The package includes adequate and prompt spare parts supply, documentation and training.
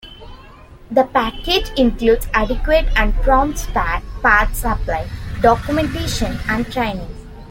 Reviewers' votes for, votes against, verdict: 2, 0, accepted